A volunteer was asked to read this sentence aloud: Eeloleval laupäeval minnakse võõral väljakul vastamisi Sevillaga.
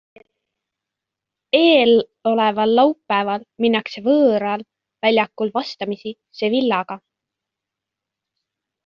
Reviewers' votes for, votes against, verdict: 2, 1, accepted